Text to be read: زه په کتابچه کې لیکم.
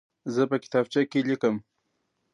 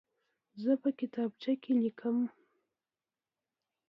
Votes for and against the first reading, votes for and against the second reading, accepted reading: 2, 0, 1, 2, first